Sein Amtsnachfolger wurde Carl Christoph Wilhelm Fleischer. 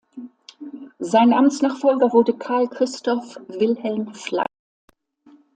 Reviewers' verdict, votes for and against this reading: rejected, 0, 3